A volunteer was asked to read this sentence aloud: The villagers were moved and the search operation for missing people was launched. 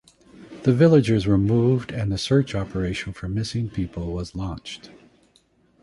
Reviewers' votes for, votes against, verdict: 2, 0, accepted